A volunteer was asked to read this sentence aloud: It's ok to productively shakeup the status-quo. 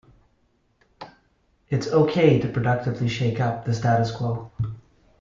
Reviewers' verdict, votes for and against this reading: accepted, 2, 0